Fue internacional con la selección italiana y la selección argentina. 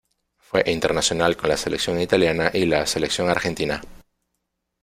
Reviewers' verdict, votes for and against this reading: accepted, 2, 0